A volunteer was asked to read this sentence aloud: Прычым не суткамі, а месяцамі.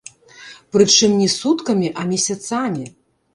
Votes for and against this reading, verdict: 1, 2, rejected